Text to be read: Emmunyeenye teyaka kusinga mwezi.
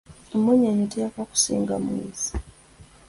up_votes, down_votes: 2, 0